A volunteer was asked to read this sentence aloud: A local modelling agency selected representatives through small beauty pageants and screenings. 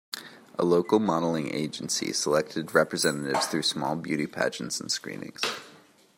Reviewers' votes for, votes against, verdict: 2, 0, accepted